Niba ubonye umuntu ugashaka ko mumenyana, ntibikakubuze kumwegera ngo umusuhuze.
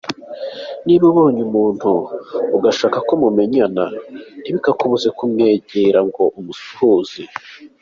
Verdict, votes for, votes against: accepted, 2, 0